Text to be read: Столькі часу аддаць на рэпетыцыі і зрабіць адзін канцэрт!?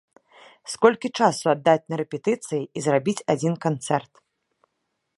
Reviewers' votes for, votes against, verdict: 0, 2, rejected